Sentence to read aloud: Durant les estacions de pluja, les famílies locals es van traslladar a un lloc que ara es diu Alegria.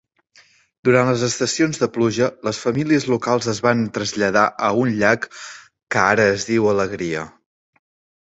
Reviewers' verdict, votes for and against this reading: rejected, 1, 2